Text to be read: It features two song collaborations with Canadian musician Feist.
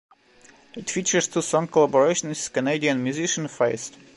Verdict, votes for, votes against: rejected, 1, 2